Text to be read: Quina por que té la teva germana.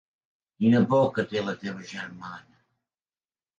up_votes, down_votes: 5, 0